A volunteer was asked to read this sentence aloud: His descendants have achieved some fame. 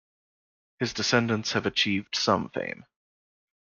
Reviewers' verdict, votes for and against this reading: accepted, 2, 0